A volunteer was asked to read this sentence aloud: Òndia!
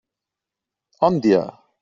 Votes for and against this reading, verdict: 2, 0, accepted